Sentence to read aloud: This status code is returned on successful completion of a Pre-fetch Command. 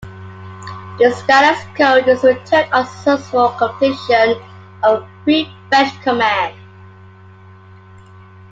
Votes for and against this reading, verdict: 2, 0, accepted